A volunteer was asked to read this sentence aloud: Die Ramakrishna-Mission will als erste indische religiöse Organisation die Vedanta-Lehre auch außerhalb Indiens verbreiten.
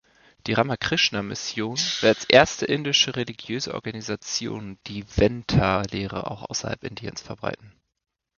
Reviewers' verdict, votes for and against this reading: rejected, 0, 2